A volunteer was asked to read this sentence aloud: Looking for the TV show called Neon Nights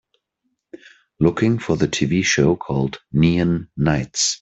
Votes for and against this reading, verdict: 2, 0, accepted